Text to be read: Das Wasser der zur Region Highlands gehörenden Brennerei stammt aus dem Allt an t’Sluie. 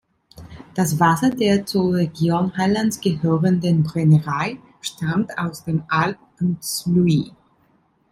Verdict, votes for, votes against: accepted, 2, 1